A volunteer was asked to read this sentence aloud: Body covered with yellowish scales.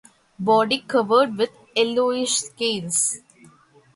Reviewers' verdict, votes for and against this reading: rejected, 0, 2